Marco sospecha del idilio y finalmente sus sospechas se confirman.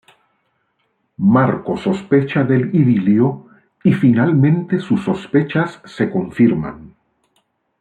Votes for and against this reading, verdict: 2, 0, accepted